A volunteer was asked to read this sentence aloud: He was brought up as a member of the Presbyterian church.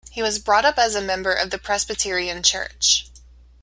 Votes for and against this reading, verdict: 2, 0, accepted